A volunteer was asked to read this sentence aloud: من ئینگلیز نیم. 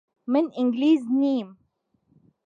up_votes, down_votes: 2, 0